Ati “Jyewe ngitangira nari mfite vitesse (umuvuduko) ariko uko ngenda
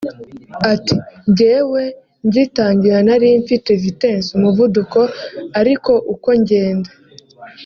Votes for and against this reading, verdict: 2, 0, accepted